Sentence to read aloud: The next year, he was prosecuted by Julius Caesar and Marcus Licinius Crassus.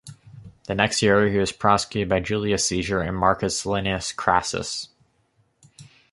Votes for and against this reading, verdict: 0, 2, rejected